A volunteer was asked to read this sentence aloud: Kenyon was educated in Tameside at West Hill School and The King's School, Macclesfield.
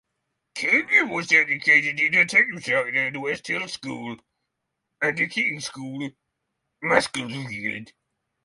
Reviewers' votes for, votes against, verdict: 0, 3, rejected